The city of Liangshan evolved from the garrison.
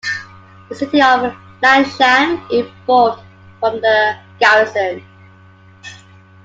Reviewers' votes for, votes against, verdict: 2, 0, accepted